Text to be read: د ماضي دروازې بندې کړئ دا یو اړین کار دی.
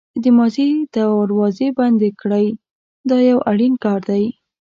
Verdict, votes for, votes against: rejected, 1, 2